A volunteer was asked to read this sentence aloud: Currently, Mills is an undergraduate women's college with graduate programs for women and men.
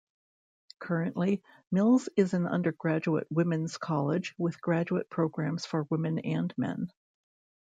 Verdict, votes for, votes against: accepted, 2, 0